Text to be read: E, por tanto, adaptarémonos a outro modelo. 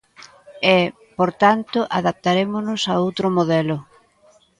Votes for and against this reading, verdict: 2, 0, accepted